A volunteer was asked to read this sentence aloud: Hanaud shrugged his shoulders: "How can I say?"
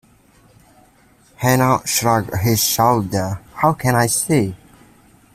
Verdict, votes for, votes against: rejected, 0, 2